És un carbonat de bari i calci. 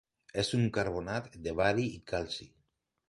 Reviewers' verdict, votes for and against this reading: accepted, 2, 0